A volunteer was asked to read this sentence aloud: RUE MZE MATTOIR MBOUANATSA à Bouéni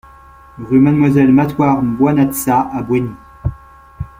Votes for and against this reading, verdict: 0, 2, rejected